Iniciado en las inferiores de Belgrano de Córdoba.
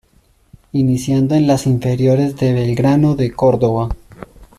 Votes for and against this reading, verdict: 0, 2, rejected